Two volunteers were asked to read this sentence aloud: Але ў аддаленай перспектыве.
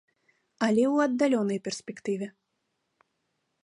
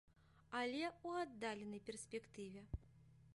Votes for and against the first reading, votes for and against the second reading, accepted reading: 0, 2, 2, 0, second